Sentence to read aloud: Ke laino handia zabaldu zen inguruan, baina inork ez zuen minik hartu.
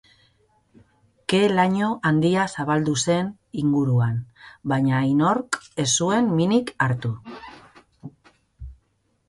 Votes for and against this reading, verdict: 2, 0, accepted